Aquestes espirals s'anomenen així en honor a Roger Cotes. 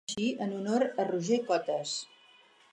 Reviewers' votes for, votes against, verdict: 0, 4, rejected